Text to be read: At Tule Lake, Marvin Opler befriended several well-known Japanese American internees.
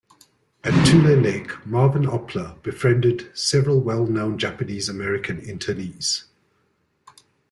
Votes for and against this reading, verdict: 1, 2, rejected